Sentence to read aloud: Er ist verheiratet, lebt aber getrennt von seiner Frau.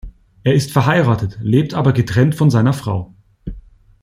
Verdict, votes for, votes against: accepted, 2, 0